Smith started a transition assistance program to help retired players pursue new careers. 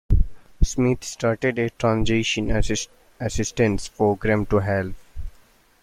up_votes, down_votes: 0, 2